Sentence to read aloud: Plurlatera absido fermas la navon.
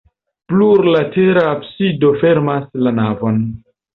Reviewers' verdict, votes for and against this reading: accepted, 2, 0